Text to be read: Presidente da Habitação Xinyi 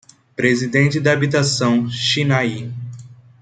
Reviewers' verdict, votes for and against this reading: rejected, 1, 2